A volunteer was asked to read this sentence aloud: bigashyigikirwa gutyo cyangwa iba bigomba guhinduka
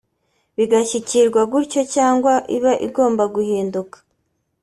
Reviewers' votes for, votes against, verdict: 1, 2, rejected